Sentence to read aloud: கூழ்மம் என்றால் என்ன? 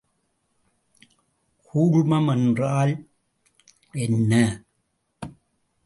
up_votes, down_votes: 1, 2